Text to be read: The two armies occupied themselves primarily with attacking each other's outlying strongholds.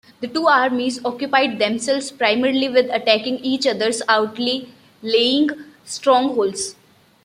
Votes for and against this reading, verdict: 1, 2, rejected